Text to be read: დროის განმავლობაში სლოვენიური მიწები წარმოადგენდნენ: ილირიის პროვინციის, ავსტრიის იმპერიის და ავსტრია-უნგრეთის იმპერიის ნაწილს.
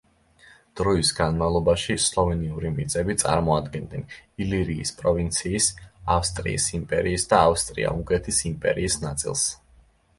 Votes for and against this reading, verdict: 2, 0, accepted